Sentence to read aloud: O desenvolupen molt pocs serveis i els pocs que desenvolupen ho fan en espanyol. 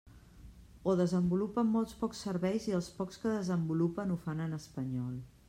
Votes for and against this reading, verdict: 2, 0, accepted